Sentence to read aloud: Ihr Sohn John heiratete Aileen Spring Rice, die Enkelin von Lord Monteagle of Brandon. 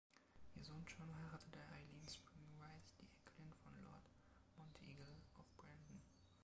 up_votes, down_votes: 0, 2